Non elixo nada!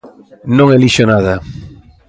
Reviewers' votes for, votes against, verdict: 2, 0, accepted